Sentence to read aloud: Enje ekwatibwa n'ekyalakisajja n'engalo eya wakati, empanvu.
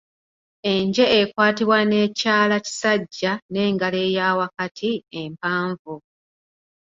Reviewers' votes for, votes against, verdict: 2, 1, accepted